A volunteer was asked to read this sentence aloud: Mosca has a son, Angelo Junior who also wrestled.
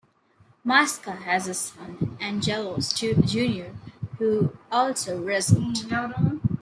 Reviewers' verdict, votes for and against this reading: rejected, 0, 2